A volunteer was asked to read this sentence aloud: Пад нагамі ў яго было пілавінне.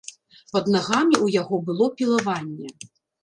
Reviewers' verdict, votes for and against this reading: rejected, 0, 2